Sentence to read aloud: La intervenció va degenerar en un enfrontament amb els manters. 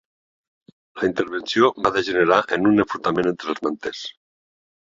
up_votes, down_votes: 2, 3